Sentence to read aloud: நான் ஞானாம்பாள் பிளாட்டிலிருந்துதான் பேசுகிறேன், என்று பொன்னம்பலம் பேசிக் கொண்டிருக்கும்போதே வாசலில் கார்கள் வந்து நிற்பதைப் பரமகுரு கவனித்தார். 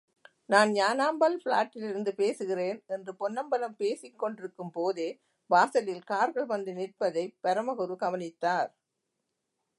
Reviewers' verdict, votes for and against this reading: rejected, 0, 2